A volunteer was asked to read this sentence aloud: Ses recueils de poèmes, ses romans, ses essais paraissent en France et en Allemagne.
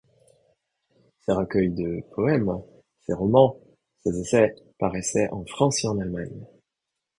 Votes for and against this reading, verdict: 1, 2, rejected